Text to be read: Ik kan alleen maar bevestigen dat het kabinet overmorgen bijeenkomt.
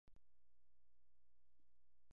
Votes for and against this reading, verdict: 0, 2, rejected